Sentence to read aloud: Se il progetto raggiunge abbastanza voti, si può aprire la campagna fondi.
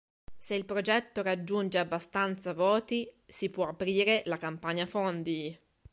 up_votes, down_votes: 3, 0